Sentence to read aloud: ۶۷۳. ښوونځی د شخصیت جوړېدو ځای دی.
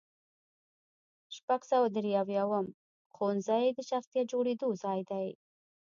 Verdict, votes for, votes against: rejected, 0, 2